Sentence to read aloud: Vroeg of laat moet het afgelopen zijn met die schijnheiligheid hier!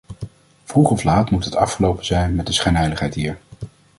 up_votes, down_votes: 1, 2